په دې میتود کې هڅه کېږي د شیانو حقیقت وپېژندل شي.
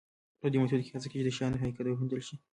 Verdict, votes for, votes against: rejected, 0, 2